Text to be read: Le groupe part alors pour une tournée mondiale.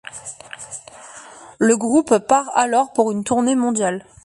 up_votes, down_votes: 1, 2